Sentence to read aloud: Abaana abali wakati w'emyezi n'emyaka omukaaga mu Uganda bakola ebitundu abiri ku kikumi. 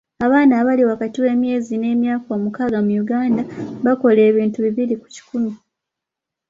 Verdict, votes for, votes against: rejected, 1, 2